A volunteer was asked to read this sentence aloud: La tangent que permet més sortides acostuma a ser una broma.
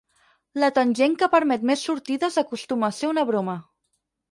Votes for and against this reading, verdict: 6, 0, accepted